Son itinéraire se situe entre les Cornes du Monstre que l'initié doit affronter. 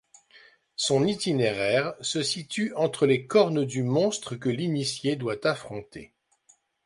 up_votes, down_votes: 2, 0